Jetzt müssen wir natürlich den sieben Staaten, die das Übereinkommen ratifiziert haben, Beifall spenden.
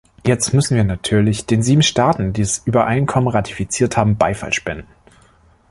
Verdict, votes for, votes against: accepted, 2, 0